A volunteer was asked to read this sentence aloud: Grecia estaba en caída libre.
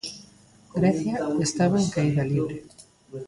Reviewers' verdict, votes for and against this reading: rejected, 0, 2